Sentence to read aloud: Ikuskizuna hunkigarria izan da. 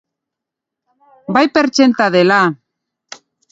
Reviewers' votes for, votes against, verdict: 0, 2, rejected